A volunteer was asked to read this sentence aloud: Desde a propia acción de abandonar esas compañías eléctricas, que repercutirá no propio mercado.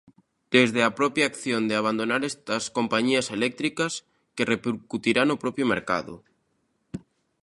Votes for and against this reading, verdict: 0, 2, rejected